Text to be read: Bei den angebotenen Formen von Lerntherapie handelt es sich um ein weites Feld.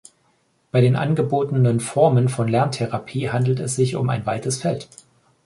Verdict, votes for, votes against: accepted, 2, 0